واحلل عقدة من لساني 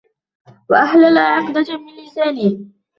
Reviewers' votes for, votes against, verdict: 0, 2, rejected